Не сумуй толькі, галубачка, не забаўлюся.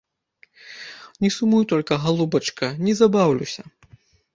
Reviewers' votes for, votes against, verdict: 1, 2, rejected